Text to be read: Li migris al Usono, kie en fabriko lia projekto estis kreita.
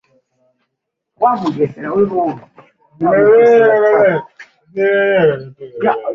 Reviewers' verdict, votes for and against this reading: rejected, 0, 2